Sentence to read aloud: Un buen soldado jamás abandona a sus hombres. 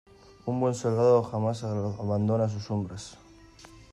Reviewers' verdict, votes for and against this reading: rejected, 0, 3